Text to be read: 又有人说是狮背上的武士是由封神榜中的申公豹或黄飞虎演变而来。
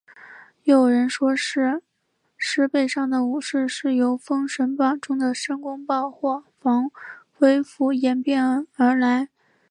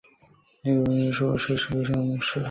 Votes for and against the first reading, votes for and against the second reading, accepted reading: 3, 2, 0, 2, first